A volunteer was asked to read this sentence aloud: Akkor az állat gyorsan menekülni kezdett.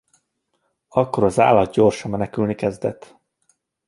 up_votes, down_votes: 2, 0